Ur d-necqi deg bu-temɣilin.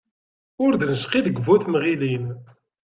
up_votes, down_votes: 2, 0